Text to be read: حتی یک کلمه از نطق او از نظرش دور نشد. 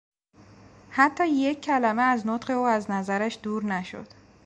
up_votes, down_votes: 2, 0